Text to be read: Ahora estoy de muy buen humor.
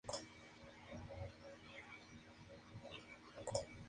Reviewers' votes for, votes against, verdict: 0, 2, rejected